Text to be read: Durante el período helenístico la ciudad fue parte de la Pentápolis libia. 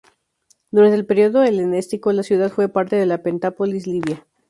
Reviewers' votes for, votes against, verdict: 0, 4, rejected